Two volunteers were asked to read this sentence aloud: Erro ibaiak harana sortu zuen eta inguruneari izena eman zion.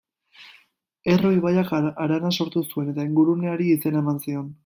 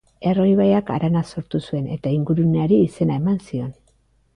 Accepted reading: second